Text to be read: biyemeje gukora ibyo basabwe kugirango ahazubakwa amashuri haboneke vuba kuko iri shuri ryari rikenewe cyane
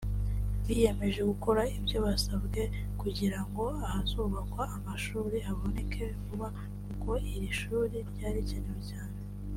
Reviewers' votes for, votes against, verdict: 2, 0, accepted